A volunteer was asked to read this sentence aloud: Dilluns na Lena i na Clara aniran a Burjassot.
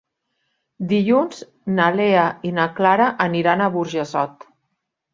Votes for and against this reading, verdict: 1, 4, rejected